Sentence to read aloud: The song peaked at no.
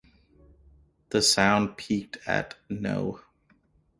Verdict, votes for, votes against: rejected, 0, 2